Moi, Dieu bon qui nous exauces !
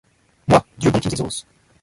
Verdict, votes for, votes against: rejected, 0, 2